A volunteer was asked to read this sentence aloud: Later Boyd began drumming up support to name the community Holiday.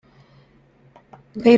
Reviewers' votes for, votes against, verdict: 0, 2, rejected